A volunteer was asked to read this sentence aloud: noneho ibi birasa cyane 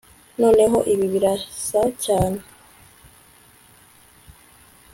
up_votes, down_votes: 2, 0